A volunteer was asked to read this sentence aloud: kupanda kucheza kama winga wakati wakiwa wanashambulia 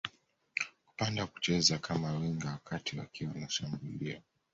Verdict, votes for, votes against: rejected, 0, 2